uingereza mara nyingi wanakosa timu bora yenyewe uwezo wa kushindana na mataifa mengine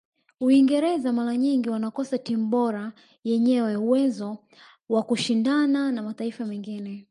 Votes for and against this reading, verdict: 2, 1, accepted